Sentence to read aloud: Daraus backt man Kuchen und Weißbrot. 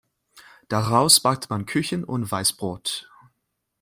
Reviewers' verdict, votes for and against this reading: rejected, 0, 2